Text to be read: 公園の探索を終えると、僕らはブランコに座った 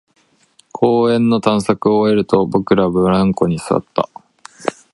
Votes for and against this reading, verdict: 0, 2, rejected